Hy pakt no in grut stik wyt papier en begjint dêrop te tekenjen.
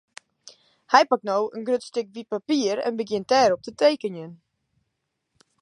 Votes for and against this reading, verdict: 2, 0, accepted